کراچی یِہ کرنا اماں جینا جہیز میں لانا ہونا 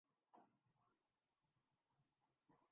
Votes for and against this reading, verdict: 0, 5, rejected